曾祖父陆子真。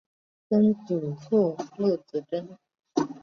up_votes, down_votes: 2, 0